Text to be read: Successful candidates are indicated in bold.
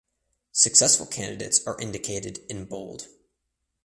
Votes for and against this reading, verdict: 2, 0, accepted